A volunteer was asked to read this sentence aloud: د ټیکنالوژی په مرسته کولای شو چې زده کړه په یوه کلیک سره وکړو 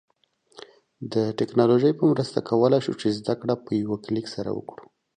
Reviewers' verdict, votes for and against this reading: accepted, 2, 0